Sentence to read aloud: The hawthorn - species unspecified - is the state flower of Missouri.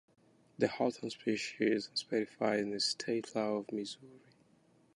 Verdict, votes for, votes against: rejected, 0, 2